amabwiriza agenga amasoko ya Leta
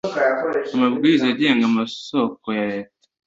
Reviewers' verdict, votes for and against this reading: accepted, 2, 0